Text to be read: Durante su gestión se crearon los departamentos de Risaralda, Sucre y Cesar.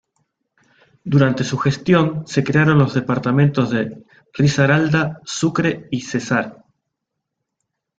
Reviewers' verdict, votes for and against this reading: rejected, 1, 2